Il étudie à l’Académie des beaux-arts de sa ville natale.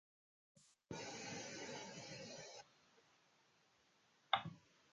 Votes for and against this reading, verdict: 0, 2, rejected